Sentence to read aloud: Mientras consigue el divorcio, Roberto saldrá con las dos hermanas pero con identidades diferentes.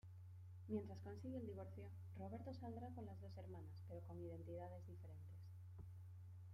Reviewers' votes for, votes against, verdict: 2, 0, accepted